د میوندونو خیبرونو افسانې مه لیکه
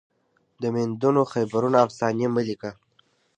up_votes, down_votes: 2, 0